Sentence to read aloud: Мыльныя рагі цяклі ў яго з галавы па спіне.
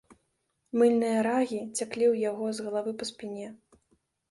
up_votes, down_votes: 0, 2